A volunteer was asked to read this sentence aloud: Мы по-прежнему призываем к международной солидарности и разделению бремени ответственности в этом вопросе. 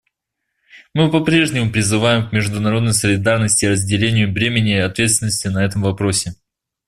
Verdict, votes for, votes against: rejected, 1, 2